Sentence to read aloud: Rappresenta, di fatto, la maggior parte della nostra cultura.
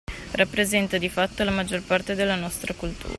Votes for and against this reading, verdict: 0, 2, rejected